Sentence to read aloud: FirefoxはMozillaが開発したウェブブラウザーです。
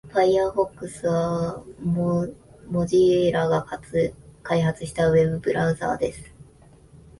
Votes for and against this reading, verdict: 1, 2, rejected